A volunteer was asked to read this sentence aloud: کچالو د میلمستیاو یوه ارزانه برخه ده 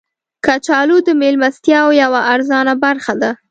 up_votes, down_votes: 2, 0